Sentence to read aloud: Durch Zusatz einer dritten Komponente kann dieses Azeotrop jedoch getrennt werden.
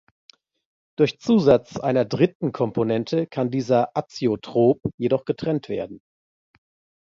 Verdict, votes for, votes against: rejected, 0, 2